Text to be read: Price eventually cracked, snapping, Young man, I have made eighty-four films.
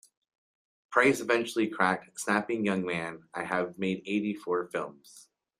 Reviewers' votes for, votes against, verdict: 2, 1, accepted